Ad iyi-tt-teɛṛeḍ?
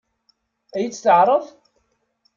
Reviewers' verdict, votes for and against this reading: accepted, 2, 0